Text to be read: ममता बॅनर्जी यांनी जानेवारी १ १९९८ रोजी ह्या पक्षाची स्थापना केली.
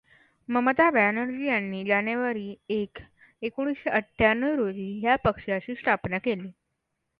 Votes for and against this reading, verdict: 0, 2, rejected